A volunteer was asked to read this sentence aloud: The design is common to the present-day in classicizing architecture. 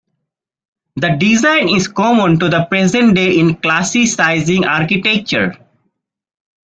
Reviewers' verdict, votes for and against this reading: accepted, 3, 1